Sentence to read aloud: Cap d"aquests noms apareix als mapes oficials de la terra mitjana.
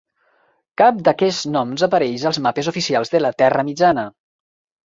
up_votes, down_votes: 2, 0